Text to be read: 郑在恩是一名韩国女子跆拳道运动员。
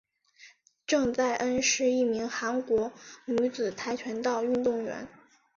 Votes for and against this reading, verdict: 3, 1, accepted